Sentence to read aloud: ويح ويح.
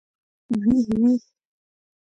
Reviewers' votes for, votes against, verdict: 1, 2, rejected